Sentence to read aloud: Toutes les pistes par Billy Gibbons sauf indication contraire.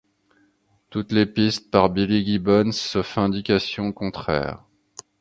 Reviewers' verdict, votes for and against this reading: accepted, 2, 0